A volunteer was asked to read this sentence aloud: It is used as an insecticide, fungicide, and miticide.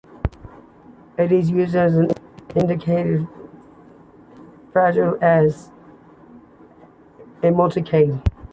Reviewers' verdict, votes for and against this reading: rejected, 1, 2